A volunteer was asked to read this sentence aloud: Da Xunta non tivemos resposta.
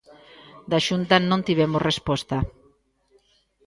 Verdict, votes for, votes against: accepted, 2, 0